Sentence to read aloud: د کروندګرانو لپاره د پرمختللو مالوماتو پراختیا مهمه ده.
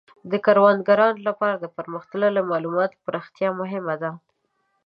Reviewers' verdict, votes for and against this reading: accepted, 2, 0